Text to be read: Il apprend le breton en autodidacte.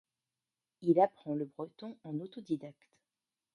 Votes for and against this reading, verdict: 1, 2, rejected